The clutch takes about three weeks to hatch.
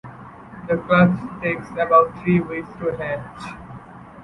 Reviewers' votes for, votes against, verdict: 2, 1, accepted